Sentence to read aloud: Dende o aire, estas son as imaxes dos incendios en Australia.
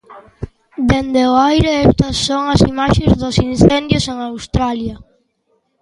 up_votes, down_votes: 2, 0